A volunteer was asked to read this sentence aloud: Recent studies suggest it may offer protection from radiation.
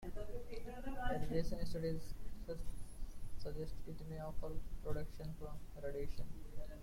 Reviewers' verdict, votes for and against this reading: rejected, 0, 2